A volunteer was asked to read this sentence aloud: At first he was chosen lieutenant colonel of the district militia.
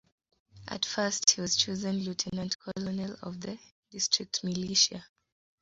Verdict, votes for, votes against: accepted, 2, 0